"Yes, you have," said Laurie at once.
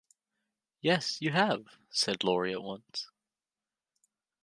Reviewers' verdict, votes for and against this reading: accepted, 2, 0